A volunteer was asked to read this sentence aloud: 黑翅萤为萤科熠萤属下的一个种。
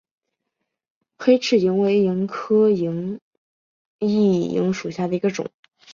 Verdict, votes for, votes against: accepted, 2, 0